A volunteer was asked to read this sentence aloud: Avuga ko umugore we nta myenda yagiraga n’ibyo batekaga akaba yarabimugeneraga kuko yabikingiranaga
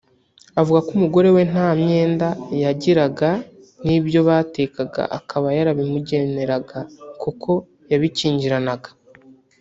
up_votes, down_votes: 1, 2